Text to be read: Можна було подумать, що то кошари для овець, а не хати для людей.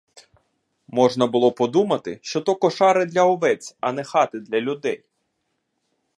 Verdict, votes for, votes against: rejected, 1, 2